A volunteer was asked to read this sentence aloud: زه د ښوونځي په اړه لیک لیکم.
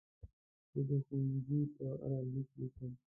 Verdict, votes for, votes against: rejected, 0, 2